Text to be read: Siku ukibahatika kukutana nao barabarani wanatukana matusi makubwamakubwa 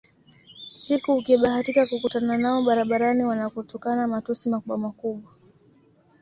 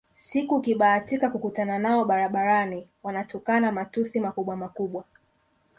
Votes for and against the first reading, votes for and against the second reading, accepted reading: 2, 0, 0, 2, first